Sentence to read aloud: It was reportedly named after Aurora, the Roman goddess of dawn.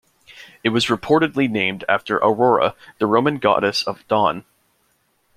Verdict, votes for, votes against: accepted, 2, 0